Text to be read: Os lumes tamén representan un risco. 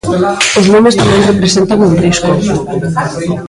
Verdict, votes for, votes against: rejected, 1, 2